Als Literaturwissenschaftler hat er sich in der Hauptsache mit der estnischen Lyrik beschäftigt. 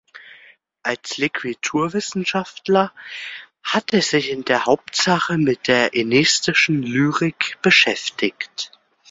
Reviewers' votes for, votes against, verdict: 1, 2, rejected